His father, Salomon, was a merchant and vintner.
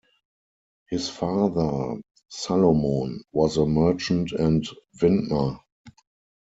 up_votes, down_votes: 4, 0